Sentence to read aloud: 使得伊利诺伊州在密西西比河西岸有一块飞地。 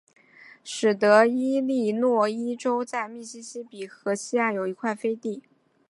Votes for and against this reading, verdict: 4, 0, accepted